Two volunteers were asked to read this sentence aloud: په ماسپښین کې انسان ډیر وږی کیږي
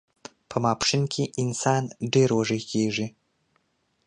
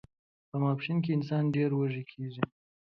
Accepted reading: first